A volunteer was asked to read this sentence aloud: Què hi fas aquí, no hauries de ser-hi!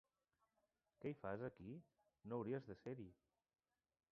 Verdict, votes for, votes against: rejected, 0, 2